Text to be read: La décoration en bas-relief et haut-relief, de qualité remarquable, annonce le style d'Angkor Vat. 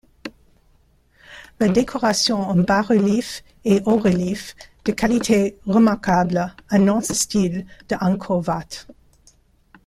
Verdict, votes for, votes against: rejected, 1, 2